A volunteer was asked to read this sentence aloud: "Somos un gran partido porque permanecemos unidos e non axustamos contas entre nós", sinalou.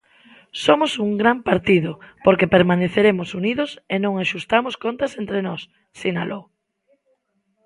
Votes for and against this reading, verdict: 0, 2, rejected